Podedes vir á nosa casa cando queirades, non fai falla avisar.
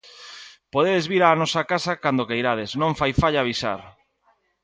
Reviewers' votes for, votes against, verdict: 2, 0, accepted